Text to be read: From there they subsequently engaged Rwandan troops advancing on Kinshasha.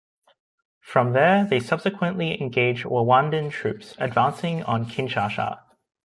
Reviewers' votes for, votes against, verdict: 1, 2, rejected